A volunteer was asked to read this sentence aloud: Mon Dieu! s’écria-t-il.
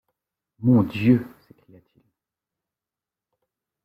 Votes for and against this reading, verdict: 1, 2, rejected